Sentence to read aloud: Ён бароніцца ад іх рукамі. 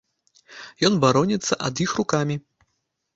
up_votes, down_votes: 2, 0